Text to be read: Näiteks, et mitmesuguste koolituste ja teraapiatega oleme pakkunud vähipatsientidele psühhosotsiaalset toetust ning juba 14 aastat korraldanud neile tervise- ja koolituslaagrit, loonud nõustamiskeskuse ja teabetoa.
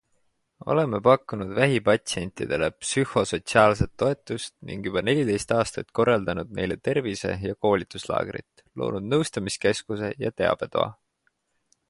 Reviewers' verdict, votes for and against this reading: rejected, 0, 2